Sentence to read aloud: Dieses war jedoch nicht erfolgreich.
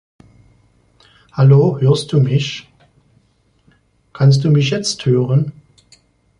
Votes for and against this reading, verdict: 0, 2, rejected